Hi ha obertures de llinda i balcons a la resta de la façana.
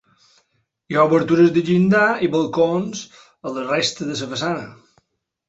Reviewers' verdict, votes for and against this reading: accepted, 2, 0